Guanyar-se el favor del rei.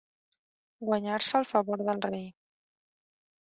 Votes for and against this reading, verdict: 1, 2, rejected